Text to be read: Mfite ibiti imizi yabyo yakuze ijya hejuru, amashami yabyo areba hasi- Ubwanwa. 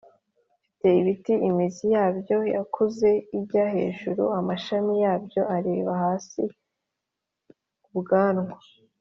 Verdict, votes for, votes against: accepted, 2, 0